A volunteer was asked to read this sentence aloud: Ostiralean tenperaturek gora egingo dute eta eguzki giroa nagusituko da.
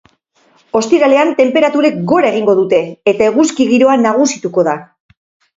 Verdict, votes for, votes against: accepted, 2, 0